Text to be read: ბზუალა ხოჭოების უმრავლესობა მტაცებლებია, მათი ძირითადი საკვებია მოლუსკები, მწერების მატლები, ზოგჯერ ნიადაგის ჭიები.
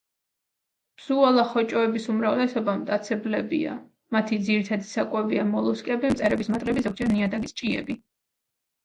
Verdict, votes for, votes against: accepted, 2, 0